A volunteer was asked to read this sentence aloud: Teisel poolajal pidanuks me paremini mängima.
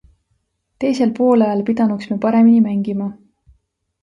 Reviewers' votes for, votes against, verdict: 2, 0, accepted